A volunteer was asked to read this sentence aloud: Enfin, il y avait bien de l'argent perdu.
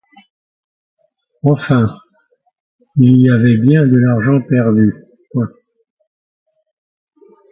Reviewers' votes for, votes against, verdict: 1, 2, rejected